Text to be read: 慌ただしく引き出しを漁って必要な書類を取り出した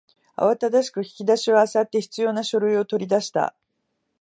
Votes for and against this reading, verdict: 2, 0, accepted